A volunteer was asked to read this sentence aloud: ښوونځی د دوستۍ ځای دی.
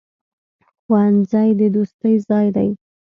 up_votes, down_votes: 2, 0